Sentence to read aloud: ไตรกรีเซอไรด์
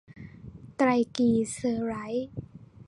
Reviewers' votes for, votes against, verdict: 1, 2, rejected